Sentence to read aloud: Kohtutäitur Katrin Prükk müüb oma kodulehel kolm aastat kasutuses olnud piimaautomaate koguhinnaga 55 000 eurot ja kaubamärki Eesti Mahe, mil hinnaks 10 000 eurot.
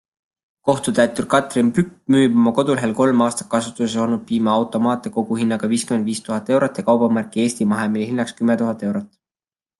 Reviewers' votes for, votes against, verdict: 0, 2, rejected